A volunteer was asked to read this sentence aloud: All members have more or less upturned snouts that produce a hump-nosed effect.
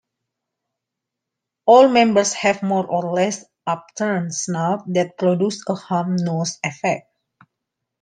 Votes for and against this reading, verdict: 2, 1, accepted